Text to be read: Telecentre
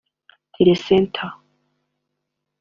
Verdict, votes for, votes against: rejected, 0, 2